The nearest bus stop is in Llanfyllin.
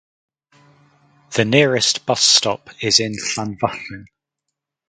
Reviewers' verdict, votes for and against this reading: rejected, 2, 2